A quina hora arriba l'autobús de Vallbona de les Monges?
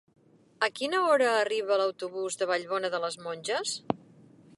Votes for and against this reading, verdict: 4, 0, accepted